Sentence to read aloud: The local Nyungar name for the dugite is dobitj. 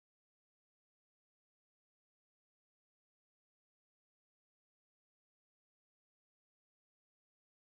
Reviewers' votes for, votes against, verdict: 0, 2, rejected